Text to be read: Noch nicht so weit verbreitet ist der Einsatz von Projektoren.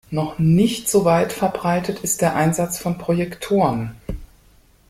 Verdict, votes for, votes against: accepted, 2, 0